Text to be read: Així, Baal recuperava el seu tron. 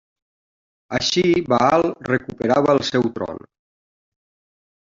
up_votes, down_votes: 2, 1